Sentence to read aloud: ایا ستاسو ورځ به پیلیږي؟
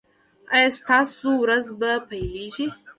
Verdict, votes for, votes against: accepted, 2, 0